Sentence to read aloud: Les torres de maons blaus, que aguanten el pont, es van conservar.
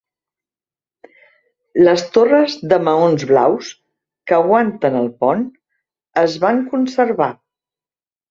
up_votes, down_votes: 5, 0